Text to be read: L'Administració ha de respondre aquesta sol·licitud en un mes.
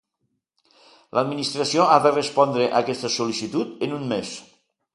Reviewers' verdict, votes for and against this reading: accepted, 2, 0